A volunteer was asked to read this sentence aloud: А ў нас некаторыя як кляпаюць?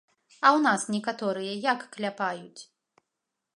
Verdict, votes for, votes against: accepted, 2, 0